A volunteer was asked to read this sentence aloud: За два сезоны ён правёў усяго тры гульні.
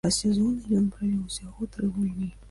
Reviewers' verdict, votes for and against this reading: rejected, 1, 3